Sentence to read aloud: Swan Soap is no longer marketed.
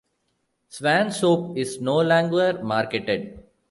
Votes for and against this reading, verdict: 0, 2, rejected